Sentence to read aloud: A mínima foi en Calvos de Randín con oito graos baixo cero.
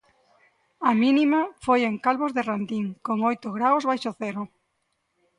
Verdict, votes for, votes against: accepted, 2, 0